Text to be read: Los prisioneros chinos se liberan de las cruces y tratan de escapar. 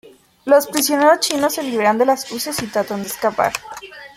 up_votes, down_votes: 2, 1